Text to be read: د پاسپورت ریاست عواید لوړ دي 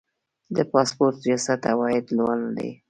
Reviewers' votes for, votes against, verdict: 2, 1, accepted